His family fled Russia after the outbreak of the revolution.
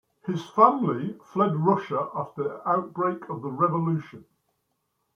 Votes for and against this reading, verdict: 2, 1, accepted